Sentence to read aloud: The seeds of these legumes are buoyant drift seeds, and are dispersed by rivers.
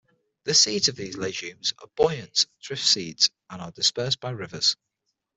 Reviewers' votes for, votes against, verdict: 6, 0, accepted